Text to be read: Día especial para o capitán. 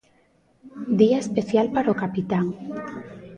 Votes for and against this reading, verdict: 2, 0, accepted